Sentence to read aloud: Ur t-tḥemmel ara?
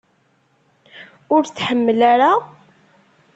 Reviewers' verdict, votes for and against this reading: rejected, 0, 2